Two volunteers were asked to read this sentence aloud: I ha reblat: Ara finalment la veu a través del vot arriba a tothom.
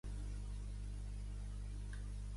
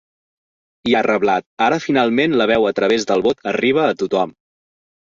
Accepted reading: second